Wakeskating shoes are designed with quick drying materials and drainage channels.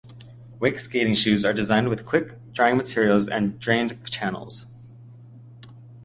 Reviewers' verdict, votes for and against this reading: rejected, 0, 2